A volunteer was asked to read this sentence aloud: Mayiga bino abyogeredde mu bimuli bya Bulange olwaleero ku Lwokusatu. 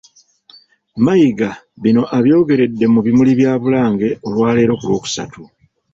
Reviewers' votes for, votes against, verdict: 2, 0, accepted